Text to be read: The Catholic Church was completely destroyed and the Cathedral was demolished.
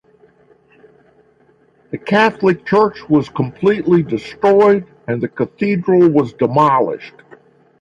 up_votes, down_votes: 6, 0